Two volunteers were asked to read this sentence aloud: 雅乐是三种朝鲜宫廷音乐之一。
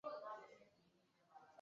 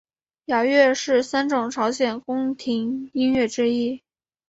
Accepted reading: second